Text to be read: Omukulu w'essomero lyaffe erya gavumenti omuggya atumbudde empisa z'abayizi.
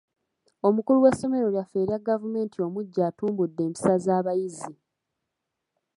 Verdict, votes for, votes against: accepted, 2, 1